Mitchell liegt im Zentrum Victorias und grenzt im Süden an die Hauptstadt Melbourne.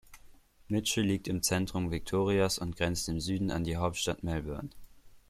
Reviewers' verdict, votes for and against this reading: accepted, 2, 0